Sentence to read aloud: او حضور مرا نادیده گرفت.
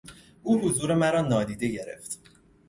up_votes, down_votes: 2, 0